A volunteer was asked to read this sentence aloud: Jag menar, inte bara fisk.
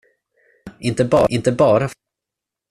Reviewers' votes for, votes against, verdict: 0, 2, rejected